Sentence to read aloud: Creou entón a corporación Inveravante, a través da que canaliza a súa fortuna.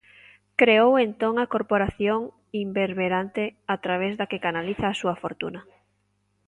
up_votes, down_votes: 1, 2